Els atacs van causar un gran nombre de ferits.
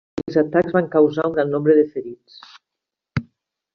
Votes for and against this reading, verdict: 0, 2, rejected